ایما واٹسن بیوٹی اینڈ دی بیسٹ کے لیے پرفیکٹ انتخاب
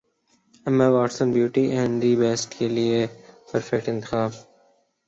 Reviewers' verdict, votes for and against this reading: rejected, 0, 2